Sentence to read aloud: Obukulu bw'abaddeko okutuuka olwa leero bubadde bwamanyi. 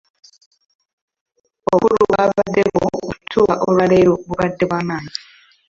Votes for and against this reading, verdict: 0, 2, rejected